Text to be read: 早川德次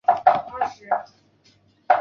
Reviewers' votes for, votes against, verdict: 0, 4, rejected